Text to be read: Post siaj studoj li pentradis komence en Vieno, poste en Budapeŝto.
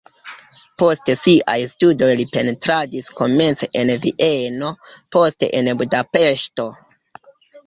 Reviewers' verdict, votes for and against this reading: rejected, 0, 2